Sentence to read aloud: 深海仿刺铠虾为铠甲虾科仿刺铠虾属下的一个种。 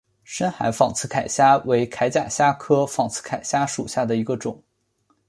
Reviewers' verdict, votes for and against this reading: accepted, 2, 1